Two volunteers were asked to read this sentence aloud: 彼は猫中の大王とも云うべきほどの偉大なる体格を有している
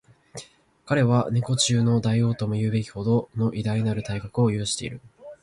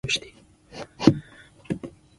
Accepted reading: first